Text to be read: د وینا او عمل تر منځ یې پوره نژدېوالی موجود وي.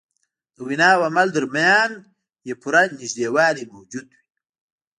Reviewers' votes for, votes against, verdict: 0, 2, rejected